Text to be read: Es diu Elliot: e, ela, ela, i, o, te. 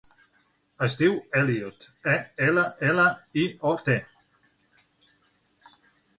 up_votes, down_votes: 6, 0